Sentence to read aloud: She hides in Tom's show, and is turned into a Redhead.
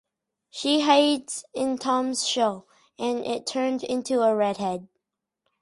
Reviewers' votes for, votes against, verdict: 2, 2, rejected